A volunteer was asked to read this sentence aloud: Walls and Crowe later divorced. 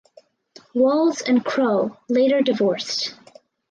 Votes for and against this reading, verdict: 4, 0, accepted